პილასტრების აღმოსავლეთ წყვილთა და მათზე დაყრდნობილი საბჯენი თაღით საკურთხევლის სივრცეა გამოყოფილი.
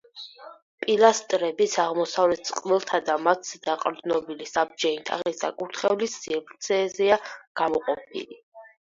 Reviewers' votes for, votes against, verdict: 2, 4, rejected